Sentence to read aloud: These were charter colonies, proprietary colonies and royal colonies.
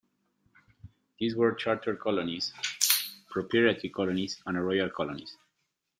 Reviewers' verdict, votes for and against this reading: rejected, 1, 2